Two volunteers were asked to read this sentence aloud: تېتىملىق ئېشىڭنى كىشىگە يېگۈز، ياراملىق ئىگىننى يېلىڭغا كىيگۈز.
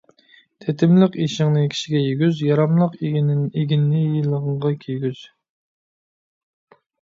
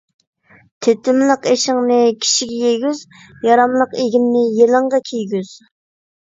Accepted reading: second